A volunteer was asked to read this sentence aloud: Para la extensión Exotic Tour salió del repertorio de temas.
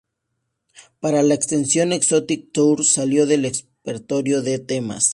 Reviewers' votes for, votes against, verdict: 0, 2, rejected